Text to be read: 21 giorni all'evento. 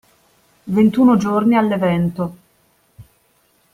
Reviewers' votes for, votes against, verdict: 0, 2, rejected